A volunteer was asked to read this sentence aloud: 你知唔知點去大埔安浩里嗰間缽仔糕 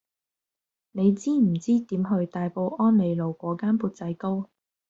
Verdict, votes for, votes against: rejected, 0, 2